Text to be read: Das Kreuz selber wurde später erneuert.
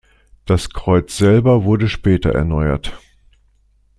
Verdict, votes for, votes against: accepted, 2, 0